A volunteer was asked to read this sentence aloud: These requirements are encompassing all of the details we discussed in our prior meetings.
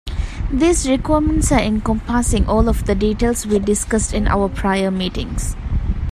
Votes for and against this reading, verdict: 0, 2, rejected